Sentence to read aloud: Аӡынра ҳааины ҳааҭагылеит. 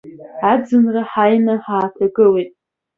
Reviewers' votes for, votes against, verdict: 2, 0, accepted